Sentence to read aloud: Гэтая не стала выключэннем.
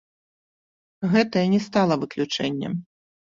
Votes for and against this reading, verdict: 3, 0, accepted